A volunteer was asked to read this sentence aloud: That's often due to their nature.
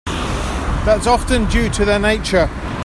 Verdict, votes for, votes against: accepted, 2, 1